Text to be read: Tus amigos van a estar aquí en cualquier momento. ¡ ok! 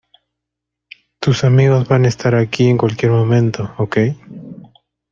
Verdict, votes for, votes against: accepted, 2, 0